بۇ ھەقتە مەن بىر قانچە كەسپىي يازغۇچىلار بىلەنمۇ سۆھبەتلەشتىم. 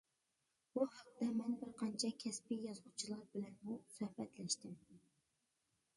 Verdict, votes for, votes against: accepted, 2, 0